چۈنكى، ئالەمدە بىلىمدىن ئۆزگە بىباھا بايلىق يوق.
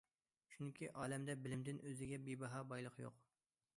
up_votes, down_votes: 2, 0